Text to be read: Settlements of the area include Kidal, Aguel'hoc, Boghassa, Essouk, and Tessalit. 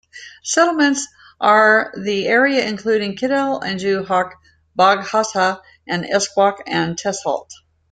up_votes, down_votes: 1, 2